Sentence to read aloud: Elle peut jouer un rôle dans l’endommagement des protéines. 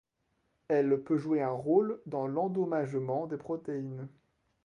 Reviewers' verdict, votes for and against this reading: rejected, 0, 2